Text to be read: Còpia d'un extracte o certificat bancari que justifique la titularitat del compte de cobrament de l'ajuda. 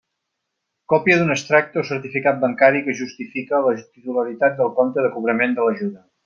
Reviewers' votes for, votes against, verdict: 0, 2, rejected